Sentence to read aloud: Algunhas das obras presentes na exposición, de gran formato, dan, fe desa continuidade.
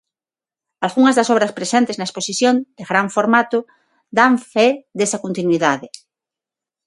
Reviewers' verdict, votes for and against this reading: accepted, 6, 0